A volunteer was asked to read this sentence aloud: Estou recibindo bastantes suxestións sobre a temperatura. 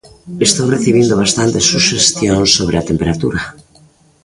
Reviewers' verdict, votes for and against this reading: rejected, 1, 2